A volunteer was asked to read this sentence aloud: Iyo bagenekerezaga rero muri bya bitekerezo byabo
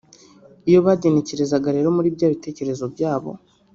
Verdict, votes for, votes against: rejected, 1, 2